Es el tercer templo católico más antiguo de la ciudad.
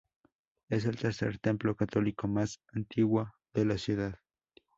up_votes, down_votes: 0, 2